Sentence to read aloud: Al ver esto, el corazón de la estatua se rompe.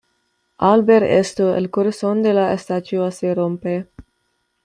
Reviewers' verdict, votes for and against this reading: accepted, 2, 1